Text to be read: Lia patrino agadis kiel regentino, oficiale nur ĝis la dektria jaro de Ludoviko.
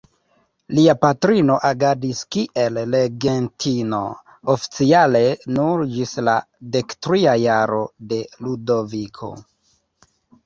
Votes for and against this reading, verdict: 0, 2, rejected